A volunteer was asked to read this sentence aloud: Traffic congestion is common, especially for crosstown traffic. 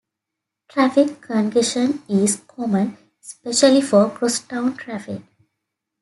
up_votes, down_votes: 2, 1